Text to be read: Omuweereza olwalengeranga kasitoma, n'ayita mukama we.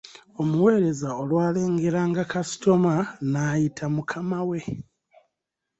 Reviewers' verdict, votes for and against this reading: accepted, 2, 0